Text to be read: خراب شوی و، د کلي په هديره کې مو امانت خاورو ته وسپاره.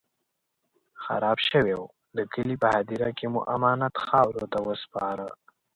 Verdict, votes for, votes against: accepted, 2, 1